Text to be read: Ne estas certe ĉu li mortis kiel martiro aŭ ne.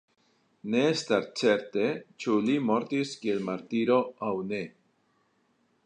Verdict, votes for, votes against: rejected, 1, 2